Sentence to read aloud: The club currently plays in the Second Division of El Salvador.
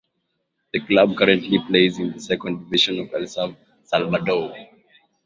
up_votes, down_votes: 0, 2